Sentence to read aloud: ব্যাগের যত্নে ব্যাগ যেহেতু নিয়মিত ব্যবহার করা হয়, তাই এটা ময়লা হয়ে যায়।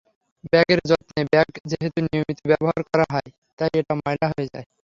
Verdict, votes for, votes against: rejected, 0, 3